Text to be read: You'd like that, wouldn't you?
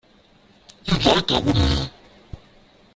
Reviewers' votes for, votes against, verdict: 0, 2, rejected